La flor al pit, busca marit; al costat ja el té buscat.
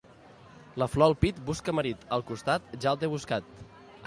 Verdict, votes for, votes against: accepted, 2, 0